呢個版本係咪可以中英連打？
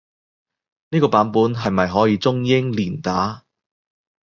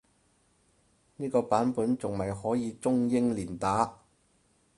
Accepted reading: first